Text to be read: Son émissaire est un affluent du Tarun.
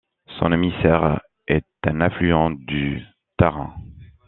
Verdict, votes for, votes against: rejected, 1, 2